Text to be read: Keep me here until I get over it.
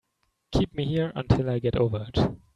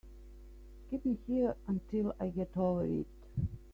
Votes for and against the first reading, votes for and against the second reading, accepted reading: 3, 0, 1, 2, first